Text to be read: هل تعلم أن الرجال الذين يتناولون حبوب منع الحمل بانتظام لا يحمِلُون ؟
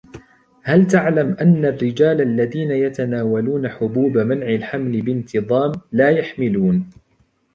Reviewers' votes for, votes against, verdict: 2, 0, accepted